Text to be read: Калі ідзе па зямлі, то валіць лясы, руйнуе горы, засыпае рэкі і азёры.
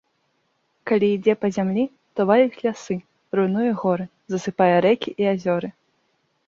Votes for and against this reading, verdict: 2, 0, accepted